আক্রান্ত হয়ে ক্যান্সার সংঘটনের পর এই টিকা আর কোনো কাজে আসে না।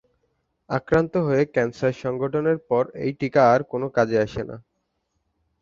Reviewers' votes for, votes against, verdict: 2, 0, accepted